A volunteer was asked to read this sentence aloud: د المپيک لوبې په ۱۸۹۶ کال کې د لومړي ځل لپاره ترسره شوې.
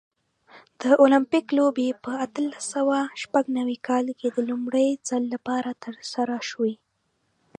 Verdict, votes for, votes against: rejected, 0, 2